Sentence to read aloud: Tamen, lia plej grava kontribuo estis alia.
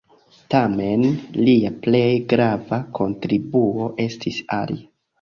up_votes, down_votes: 1, 2